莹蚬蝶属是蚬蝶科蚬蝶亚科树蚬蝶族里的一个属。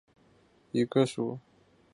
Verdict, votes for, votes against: rejected, 0, 2